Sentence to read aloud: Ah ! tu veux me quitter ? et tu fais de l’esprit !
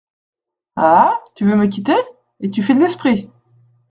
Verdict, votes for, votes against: accepted, 3, 0